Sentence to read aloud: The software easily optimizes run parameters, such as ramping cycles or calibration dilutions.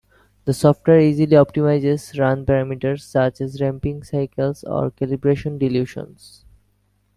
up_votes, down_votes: 1, 2